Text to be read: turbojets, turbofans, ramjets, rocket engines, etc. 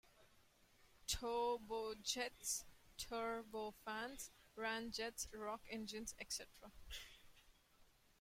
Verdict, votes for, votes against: rejected, 1, 2